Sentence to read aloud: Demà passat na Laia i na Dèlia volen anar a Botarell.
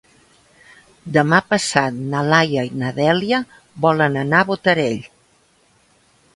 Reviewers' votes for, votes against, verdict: 3, 0, accepted